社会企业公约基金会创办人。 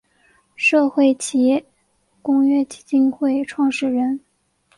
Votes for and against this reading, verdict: 1, 3, rejected